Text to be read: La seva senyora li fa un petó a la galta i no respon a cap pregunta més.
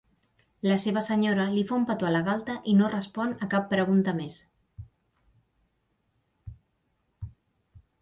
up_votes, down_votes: 3, 0